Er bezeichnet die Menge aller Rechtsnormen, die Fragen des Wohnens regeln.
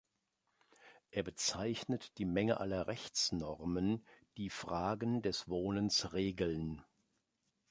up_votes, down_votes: 2, 0